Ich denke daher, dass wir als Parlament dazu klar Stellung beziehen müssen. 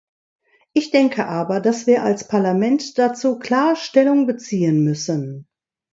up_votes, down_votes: 1, 2